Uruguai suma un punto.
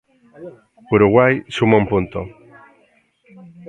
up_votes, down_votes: 0, 2